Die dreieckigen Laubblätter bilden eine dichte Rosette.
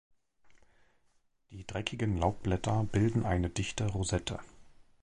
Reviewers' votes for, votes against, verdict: 1, 2, rejected